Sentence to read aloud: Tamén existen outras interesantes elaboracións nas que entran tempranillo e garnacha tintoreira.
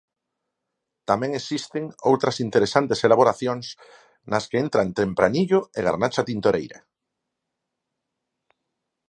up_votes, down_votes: 4, 0